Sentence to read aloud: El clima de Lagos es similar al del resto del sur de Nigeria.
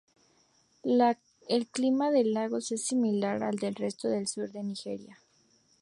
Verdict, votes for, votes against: rejected, 0, 2